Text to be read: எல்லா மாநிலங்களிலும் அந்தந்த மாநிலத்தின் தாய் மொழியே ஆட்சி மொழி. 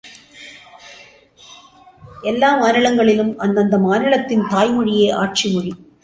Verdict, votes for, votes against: accepted, 2, 0